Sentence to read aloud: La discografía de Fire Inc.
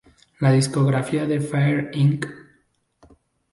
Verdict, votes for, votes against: accepted, 2, 0